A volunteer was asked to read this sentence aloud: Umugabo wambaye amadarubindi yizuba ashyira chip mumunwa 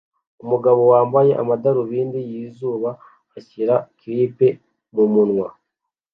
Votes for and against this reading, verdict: 2, 0, accepted